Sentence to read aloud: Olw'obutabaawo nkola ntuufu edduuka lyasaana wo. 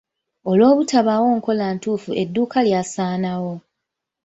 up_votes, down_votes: 2, 1